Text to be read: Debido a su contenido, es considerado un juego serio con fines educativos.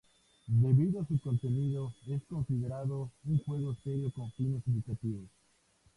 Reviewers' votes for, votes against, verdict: 2, 0, accepted